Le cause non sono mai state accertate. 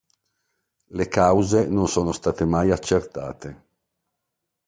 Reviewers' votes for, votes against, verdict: 1, 2, rejected